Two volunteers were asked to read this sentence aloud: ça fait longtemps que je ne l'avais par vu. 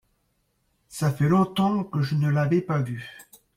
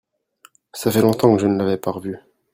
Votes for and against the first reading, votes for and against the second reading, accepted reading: 2, 0, 1, 2, first